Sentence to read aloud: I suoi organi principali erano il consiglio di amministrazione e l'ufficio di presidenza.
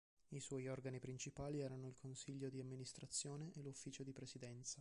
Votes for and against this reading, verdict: 2, 0, accepted